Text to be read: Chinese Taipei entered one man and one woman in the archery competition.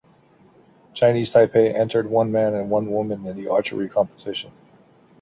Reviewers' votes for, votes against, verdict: 2, 0, accepted